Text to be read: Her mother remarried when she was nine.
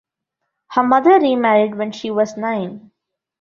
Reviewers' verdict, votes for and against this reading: accepted, 2, 0